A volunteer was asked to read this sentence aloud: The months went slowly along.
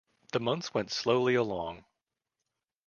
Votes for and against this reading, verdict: 3, 0, accepted